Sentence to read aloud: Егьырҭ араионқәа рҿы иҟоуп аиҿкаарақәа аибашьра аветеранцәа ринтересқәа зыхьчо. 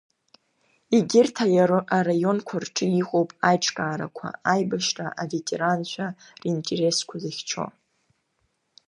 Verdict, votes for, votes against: rejected, 1, 2